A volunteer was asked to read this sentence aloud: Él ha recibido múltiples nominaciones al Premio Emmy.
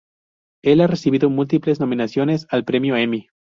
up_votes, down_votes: 0, 2